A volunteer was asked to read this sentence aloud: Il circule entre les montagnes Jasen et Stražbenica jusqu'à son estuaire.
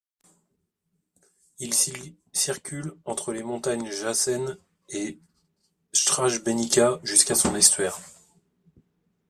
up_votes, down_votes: 0, 2